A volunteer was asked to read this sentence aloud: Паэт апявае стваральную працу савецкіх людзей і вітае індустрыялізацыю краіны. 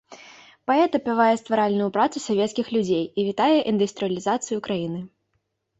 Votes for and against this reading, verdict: 2, 0, accepted